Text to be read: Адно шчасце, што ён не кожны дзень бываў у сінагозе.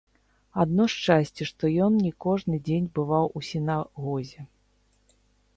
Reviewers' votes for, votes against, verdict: 1, 2, rejected